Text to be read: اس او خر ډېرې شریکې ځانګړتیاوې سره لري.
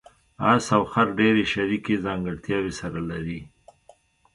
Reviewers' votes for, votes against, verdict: 3, 0, accepted